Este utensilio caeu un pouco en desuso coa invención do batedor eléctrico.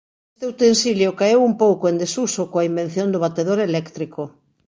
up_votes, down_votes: 2, 1